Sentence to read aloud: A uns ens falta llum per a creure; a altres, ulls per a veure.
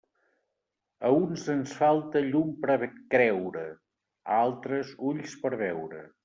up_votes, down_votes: 0, 2